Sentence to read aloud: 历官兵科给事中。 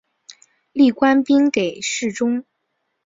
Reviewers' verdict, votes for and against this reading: rejected, 1, 3